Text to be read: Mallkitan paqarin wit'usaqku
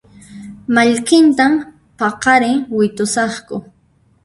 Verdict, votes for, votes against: rejected, 1, 2